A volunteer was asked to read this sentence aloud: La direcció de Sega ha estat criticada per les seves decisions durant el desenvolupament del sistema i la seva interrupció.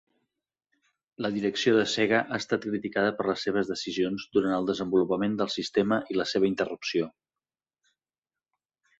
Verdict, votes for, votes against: accepted, 3, 0